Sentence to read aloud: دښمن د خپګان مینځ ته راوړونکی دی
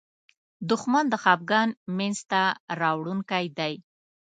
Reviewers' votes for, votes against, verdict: 2, 0, accepted